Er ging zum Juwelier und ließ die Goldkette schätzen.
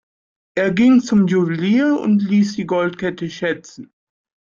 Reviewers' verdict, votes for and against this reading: accepted, 2, 0